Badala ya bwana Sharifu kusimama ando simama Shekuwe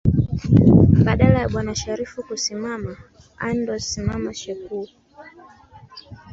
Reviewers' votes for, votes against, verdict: 0, 2, rejected